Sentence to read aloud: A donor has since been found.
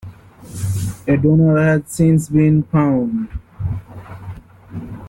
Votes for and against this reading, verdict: 2, 0, accepted